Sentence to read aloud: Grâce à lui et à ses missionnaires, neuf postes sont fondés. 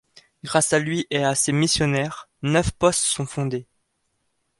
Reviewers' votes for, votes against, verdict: 2, 0, accepted